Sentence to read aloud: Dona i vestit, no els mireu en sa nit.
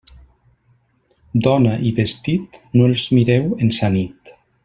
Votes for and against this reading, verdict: 2, 0, accepted